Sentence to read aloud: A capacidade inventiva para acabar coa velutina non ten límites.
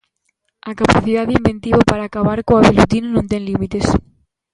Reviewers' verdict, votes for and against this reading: accepted, 2, 1